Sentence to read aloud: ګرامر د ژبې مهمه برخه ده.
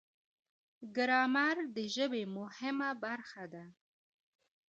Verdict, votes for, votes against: rejected, 0, 2